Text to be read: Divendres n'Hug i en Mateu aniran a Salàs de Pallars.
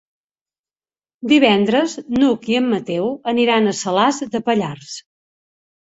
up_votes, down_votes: 3, 0